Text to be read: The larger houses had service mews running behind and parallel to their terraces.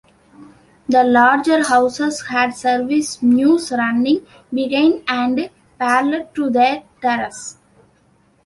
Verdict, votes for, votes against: rejected, 2, 3